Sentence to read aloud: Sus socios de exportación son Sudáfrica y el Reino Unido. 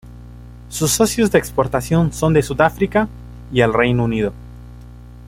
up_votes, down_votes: 0, 2